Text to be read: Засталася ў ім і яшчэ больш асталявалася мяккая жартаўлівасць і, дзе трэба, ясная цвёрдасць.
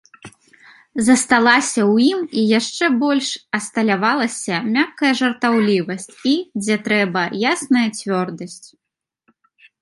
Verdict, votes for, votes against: accepted, 2, 0